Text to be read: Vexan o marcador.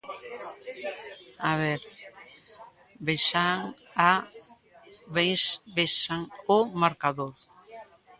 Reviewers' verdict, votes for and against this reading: rejected, 0, 2